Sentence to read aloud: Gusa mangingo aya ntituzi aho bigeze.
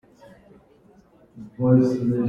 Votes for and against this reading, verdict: 0, 2, rejected